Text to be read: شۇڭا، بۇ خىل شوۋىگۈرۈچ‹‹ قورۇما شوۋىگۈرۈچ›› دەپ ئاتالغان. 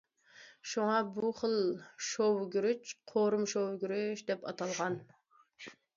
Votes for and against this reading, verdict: 0, 2, rejected